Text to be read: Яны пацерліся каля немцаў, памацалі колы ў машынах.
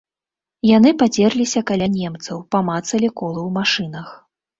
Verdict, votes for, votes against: accepted, 2, 0